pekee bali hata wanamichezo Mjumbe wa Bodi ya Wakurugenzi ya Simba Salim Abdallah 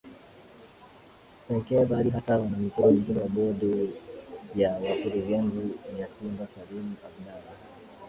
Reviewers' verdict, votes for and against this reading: rejected, 1, 2